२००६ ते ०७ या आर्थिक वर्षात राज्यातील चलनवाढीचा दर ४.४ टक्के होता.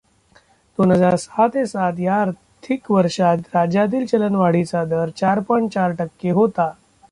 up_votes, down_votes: 0, 2